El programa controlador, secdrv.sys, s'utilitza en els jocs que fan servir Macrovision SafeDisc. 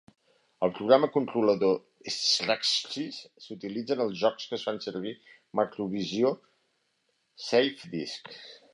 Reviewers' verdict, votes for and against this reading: accepted, 2, 1